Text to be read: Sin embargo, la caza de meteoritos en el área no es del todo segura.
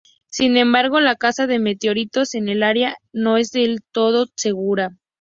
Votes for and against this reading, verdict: 2, 0, accepted